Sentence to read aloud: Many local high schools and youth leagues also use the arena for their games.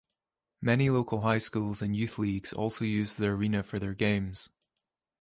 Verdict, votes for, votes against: accepted, 2, 0